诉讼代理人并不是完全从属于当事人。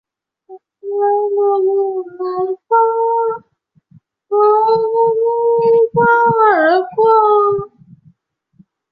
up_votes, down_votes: 0, 3